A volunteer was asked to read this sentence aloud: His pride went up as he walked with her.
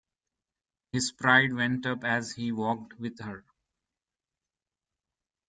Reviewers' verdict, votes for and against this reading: rejected, 1, 2